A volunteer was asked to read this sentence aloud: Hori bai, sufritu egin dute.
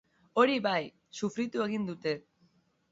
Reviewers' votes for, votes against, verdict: 2, 0, accepted